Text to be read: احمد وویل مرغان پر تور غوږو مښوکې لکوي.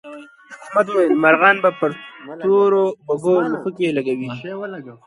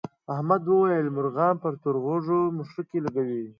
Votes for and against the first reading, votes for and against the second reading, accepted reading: 0, 2, 8, 0, second